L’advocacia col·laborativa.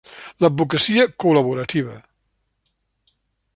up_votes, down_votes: 3, 0